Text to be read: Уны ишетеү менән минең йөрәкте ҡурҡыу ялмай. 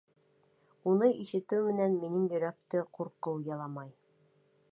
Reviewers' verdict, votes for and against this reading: rejected, 0, 3